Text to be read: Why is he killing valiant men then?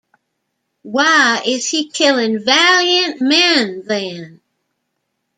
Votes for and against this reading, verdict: 0, 2, rejected